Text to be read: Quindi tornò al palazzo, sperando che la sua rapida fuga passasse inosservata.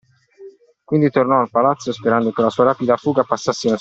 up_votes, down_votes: 0, 2